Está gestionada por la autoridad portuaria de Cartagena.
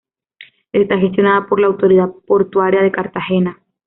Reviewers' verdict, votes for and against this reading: accepted, 2, 0